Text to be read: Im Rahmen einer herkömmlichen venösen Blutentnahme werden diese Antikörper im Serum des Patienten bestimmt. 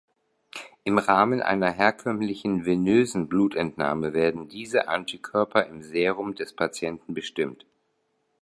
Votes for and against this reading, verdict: 2, 0, accepted